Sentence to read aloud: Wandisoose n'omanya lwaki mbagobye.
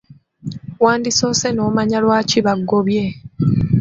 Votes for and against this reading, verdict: 1, 2, rejected